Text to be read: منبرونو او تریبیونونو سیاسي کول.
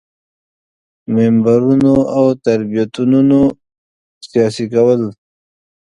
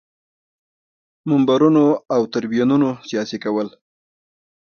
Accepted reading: second